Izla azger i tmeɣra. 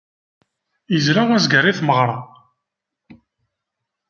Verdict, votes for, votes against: accepted, 2, 0